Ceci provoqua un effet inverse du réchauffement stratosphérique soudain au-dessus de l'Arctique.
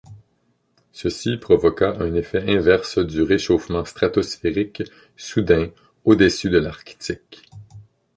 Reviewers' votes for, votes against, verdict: 1, 2, rejected